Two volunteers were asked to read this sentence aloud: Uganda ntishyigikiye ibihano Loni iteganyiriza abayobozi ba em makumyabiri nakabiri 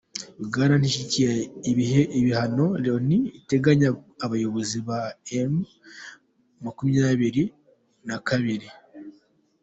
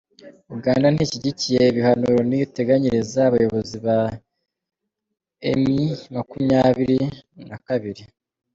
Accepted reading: second